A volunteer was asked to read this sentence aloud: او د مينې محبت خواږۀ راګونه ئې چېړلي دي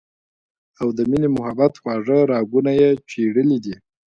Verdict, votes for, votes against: accepted, 2, 0